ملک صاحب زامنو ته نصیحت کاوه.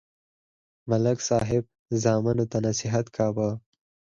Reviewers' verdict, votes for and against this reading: accepted, 4, 0